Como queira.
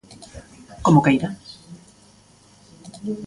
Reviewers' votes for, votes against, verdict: 2, 0, accepted